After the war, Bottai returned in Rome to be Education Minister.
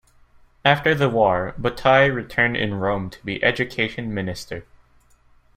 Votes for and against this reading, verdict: 2, 0, accepted